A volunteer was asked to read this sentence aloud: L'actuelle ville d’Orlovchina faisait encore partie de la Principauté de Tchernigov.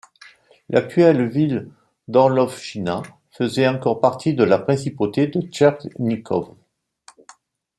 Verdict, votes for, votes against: rejected, 1, 2